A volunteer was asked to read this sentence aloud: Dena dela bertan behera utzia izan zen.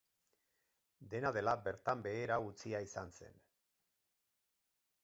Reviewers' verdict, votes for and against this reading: rejected, 2, 2